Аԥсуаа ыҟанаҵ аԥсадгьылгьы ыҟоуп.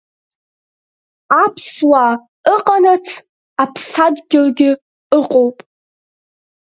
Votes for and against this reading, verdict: 2, 0, accepted